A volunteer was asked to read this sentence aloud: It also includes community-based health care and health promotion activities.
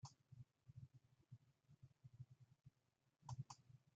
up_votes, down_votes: 0, 2